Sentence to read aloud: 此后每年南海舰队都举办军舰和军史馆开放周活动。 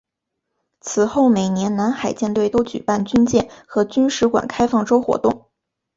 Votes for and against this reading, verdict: 6, 1, accepted